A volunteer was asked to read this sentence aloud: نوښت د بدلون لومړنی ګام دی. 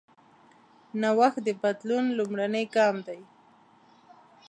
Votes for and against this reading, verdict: 2, 0, accepted